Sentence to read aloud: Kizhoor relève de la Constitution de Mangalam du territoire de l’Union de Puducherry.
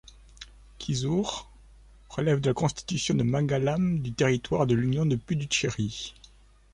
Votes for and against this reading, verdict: 1, 2, rejected